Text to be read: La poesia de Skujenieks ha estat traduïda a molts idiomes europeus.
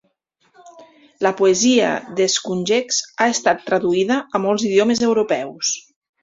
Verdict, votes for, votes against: rejected, 1, 2